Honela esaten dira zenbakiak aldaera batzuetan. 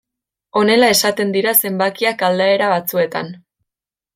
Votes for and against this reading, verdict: 2, 0, accepted